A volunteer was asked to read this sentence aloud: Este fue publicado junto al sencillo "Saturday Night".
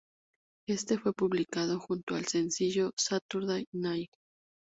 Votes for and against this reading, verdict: 2, 0, accepted